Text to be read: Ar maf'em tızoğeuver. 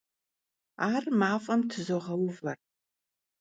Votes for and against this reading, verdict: 2, 0, accepted